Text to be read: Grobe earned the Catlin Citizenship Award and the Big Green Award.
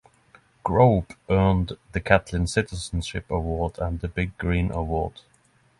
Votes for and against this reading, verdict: 6, 0, accepted